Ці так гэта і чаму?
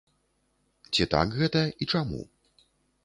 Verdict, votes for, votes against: accepted, 3, 0